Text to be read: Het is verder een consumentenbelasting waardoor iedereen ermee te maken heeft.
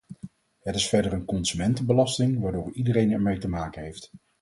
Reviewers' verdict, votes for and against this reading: accepted, 4, 0